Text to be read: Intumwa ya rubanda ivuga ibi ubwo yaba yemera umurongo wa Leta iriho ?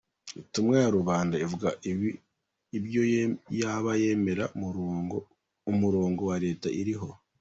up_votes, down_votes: 1, 2